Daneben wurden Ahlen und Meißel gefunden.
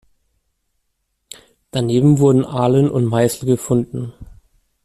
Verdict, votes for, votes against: accepted, 2, 0